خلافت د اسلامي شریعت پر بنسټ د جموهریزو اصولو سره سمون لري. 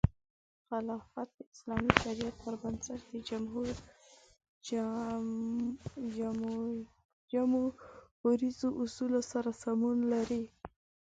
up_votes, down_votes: 3, 4